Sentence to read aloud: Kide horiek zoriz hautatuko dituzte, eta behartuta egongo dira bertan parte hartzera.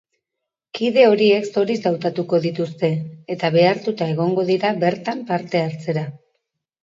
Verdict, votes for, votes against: accepted, 4, 0